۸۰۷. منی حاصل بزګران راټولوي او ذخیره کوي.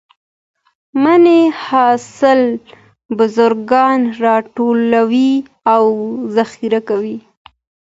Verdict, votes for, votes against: rejected, 0, 2